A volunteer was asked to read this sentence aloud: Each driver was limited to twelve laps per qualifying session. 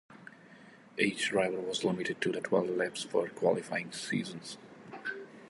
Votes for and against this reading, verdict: 0, 2, rejected